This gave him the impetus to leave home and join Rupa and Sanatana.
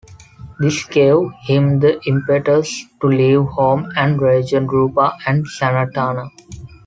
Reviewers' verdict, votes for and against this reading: rejected, 0, 2